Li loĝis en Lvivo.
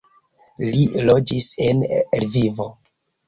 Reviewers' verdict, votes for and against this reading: rejected, 1, 2